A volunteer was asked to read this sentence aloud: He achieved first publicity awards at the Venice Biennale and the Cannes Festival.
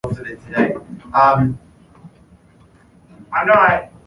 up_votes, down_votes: 1, 2